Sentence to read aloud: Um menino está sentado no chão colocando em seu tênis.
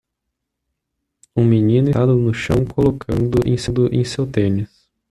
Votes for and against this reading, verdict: 0, 2, rejected